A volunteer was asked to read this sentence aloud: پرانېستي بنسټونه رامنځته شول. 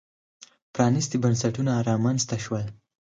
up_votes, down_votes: 4, 0